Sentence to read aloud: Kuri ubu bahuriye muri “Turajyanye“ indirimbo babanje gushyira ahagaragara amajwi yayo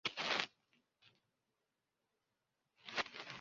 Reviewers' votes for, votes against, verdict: 0, 2, rejected